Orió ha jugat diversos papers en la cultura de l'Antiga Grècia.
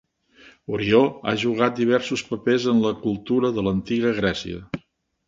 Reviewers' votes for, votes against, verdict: 3, 0, accepted